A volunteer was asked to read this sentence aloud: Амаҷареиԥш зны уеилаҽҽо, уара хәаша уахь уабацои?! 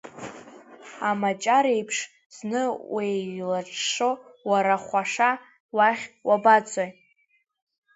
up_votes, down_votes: 1, 2